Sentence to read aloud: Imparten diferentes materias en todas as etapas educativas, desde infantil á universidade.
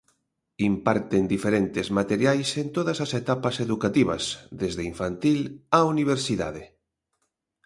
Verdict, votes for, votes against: rejected, 0, 2